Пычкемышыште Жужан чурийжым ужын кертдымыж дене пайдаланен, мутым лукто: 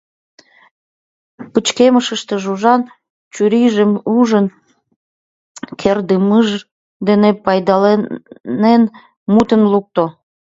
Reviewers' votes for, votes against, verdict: 1, 2, rejected